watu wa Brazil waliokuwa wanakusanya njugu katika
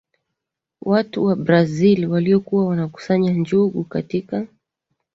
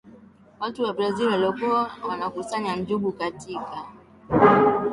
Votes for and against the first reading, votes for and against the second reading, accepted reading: 2, 0, 0, 2, first